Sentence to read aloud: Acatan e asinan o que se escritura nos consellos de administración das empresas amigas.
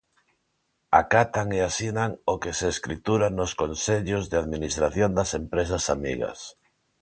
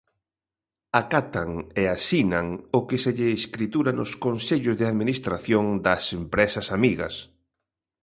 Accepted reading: first